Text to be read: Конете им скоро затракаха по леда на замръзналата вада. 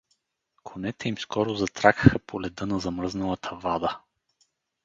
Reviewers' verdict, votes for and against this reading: rejected, 0, 2